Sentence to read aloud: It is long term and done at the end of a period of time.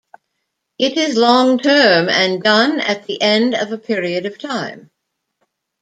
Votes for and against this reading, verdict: 2, 0, accepted